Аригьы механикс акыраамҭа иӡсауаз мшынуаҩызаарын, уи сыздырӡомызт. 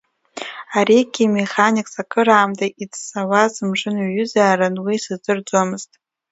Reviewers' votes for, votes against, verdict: 2, 0, accepted